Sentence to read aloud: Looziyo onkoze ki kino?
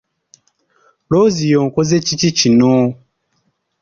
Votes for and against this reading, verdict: 1, 2, rejected